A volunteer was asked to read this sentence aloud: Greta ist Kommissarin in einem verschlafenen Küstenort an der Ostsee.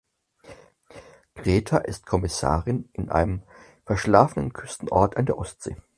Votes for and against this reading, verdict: 4, 0, accepted